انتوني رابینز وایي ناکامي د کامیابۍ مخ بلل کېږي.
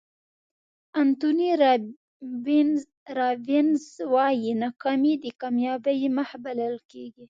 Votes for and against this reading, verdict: 2, 1, accepted